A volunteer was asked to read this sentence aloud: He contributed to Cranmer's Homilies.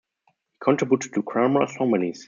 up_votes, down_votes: 0, 2